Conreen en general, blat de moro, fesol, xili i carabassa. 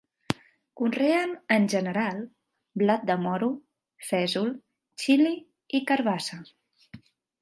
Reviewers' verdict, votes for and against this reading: accepted, 2, 0